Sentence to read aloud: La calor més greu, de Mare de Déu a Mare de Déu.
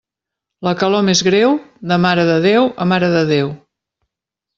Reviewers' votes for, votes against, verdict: 3, 0, accepted